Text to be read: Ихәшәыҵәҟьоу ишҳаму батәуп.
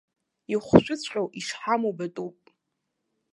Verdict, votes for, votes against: accepted, 2, 0